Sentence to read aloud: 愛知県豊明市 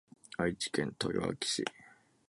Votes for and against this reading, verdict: 9, 2, accepted